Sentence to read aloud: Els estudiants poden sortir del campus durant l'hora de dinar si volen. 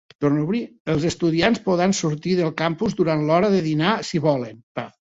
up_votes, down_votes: 0, 2